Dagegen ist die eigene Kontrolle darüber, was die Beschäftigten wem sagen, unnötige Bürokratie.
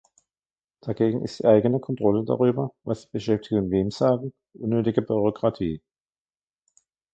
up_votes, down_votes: 2, 0